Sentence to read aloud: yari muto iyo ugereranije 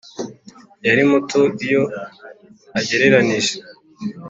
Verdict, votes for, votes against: accepted, 4, 2